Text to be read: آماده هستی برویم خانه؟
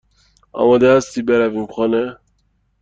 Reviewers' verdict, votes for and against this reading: accepted, 2, 0